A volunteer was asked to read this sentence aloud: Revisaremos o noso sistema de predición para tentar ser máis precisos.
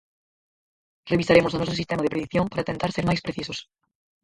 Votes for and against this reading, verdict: 2, 4, rejected